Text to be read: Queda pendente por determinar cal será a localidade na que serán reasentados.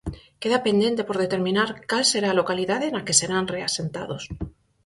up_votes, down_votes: 4, 0